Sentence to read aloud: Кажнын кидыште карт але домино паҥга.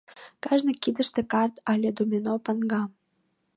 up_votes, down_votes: 0, 2